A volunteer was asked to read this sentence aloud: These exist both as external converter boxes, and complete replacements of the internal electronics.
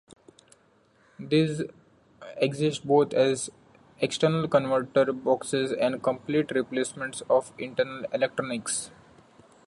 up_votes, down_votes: 0, 2